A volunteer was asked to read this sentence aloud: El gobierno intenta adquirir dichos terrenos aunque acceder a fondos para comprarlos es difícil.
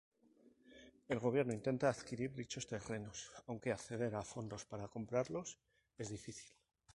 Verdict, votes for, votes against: rejected, 0, 2